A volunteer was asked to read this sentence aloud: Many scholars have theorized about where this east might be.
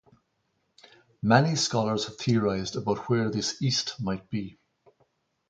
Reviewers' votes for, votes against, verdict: 2, 0, accepted